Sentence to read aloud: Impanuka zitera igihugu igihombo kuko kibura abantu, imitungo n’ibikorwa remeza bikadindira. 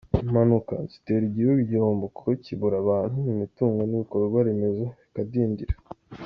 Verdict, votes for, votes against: accepted, 2, 0